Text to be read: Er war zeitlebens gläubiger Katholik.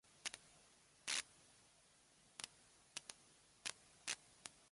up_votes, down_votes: 0, 2